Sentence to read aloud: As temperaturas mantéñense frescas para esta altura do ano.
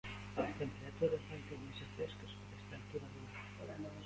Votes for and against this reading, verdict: 0, 2, rejected